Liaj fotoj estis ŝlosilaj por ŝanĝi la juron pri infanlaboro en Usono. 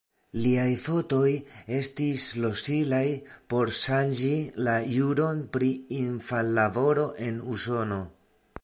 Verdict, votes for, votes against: rejected, 1, 2